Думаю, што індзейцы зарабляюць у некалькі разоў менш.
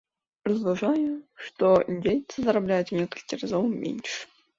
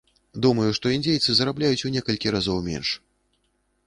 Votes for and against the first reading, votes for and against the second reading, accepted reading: 0, 2, 2, 0, second